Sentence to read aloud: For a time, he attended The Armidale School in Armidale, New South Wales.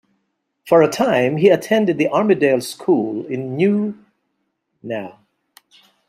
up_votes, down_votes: 0, 2